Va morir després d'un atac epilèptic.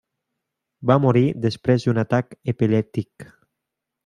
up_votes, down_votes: 2, 1